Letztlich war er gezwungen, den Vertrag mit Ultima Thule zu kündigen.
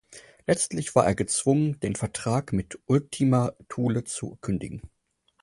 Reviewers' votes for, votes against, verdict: 4, 0, accepted